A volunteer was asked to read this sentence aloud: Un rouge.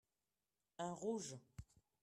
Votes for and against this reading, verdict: 2, 0, accepted